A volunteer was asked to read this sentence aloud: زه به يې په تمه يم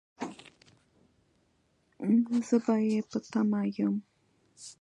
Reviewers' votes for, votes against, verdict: 1, 2, rejected